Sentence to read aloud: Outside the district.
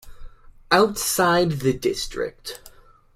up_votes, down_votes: 2, 0